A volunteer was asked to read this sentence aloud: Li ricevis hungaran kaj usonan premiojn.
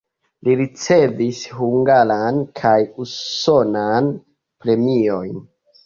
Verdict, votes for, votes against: accepted, 3, 1